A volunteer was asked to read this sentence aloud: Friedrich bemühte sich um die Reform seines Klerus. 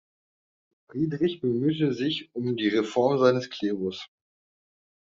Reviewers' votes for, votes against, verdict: 1, 2, rejected